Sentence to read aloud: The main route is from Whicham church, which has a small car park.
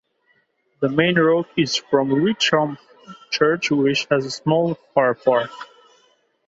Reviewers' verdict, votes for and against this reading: rejected, 1, 2